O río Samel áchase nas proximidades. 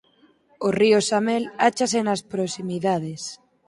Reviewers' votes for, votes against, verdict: 4, 0, accepted